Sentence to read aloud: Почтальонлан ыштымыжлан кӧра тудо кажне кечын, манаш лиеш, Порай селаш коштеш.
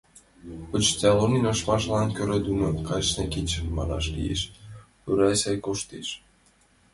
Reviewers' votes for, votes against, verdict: 0, 2, rejected